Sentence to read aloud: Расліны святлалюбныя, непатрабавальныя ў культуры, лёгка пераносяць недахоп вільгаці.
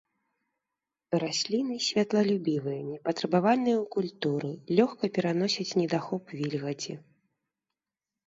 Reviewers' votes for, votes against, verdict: 0, 2, rejected